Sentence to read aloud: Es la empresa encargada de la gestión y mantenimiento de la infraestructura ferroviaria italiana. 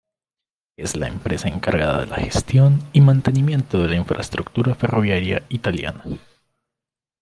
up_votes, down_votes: 2, 0